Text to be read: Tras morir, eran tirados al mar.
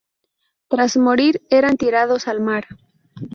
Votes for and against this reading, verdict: 2, 0, accepted